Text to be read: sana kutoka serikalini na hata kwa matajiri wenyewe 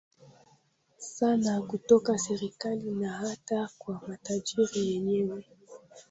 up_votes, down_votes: 0, 2